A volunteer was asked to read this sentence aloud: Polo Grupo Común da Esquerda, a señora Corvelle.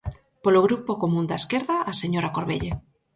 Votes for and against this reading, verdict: 4, 0, accepted